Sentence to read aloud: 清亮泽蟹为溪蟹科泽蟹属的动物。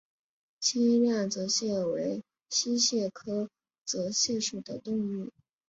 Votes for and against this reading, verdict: 5, 0, accepted